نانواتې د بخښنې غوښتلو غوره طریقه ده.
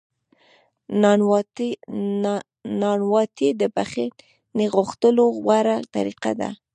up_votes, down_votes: 0, 2